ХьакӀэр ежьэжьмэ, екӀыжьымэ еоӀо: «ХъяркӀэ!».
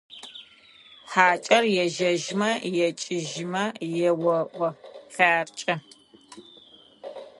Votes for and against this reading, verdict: 2, 0, accepted